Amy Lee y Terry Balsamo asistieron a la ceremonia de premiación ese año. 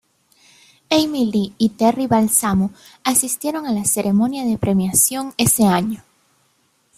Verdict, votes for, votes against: accepted, 2, 0